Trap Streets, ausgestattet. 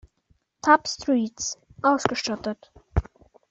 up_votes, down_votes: 0, 2